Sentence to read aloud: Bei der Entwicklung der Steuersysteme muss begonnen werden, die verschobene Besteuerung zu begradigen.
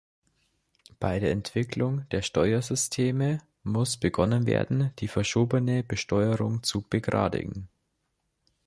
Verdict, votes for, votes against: accepted, 2, 0